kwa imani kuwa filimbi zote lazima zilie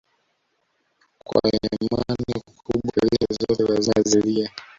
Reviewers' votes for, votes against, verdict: 1, 2, rejected